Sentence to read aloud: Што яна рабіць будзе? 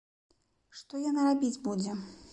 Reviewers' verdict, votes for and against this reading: accepted, 2, 0